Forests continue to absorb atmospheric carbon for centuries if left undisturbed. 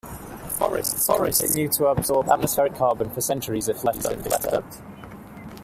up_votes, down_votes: 0, 2